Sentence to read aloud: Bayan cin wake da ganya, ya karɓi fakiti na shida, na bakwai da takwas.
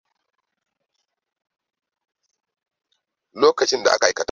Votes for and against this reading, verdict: 0, 2, rejected